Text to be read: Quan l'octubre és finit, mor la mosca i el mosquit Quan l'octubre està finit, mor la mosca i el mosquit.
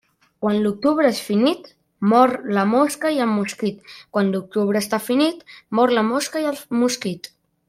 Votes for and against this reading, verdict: 0, 2, rejected